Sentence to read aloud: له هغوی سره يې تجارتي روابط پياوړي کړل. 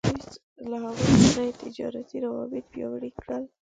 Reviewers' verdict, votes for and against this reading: rejected, 1, 2